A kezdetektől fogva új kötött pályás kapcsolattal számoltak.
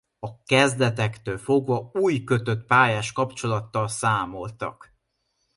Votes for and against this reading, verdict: 2, 0, accepted